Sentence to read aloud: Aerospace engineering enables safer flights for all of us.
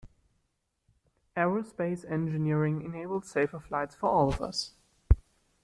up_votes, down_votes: 1, 2